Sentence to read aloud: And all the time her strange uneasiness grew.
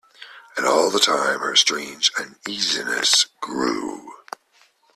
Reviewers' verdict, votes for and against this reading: accepted, 2, 0